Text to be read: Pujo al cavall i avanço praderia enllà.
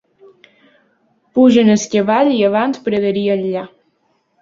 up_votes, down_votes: 0, 2